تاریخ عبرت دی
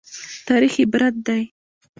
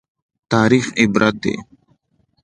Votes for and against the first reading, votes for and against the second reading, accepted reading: 1, 2, 2, 0, second